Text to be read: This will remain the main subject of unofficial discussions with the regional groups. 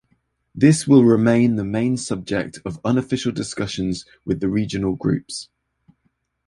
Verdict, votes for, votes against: accepted, 2, 0